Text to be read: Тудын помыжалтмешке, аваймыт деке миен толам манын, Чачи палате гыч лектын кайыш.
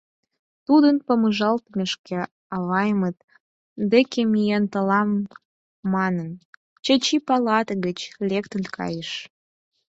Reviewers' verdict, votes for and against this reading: accepted, 4, 2